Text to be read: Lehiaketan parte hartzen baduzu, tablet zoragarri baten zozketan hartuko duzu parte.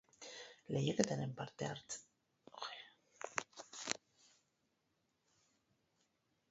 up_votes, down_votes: 0, 4